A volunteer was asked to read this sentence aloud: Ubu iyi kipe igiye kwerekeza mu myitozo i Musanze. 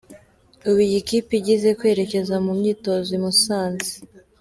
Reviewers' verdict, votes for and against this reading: accepted, 2, 1